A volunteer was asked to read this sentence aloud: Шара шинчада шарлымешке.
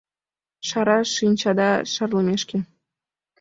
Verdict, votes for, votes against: accepted, 2, 0